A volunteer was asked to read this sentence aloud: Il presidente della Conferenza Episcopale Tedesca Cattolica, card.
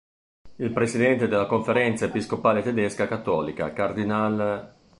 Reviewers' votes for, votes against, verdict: 1, 2, rejected